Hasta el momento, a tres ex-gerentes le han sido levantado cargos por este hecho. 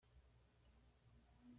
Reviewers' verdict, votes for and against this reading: rejected, 1, 2